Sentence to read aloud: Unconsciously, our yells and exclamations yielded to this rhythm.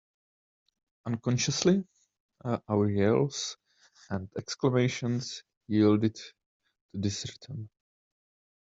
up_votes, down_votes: 1, 2